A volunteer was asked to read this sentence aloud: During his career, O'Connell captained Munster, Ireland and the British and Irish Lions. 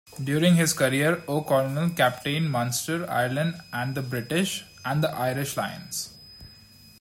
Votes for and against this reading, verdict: 1, 2, rejected